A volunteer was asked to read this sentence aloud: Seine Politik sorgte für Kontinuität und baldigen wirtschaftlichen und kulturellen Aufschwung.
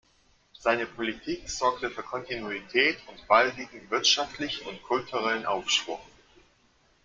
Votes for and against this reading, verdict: 1, 2, rejected